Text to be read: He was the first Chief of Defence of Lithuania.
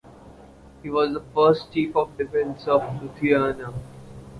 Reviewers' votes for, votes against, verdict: 2, 2, rejected